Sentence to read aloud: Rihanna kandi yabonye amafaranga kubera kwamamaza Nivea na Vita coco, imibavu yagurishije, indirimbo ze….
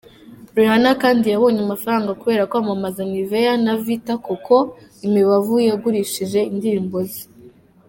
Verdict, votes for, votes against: accepted, 2, 1